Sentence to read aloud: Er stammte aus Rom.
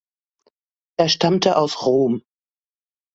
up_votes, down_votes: 2, 0